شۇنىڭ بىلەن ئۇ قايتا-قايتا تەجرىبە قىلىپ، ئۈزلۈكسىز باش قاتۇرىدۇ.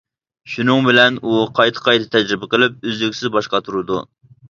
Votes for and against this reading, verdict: 2, 0, accepted